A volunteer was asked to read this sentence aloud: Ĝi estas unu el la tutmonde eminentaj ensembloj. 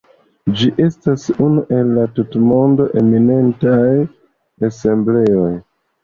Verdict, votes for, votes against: accepted, 2, 0